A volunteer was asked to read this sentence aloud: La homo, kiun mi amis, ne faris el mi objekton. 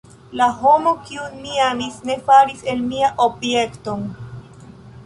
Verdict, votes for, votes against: rejected, 1, 2